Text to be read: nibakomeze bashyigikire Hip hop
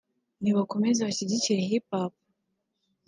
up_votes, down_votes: 2, 0